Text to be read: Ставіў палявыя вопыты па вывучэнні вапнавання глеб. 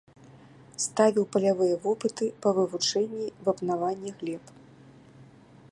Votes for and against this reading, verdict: 2, 0, accepted